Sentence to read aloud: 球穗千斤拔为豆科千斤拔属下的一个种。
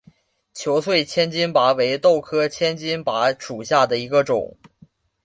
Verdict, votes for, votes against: accepted, 2, 0